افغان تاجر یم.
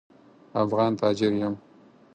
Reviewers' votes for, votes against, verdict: 4, 0, accepted